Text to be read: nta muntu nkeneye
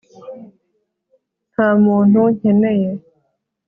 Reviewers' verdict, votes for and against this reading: accepted, 3, 0